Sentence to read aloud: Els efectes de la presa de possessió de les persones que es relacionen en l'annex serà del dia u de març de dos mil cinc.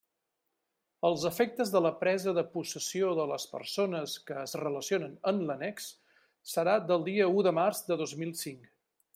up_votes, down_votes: 3, 0